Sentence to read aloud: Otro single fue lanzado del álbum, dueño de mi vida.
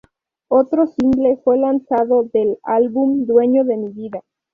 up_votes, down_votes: 2, 4